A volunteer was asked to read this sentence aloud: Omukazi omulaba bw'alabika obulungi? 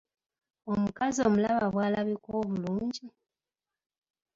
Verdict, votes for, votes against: accepted, 3, 0